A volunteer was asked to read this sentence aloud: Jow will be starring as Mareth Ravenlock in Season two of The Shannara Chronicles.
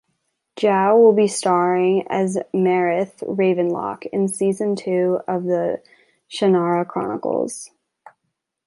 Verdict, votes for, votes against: accepted, 3, 0